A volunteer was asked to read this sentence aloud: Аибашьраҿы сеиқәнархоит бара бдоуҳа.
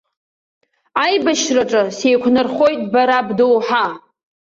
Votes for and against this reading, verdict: 2, 0, accepted